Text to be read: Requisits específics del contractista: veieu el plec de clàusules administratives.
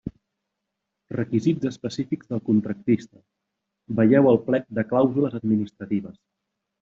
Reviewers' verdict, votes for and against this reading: accepted, 2, 0